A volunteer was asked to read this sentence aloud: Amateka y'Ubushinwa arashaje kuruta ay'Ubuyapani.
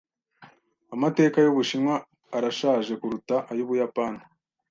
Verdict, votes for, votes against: accepted, 2, 0